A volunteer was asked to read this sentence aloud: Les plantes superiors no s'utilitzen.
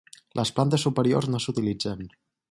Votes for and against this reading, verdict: 6, 0, accepted